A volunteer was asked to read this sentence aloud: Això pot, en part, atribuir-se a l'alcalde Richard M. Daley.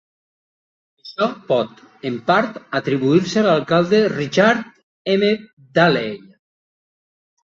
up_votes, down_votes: 0, 2